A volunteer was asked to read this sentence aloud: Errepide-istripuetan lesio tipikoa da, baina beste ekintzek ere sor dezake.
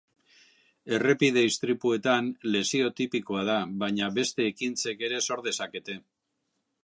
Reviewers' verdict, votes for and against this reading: rejected, 2, 3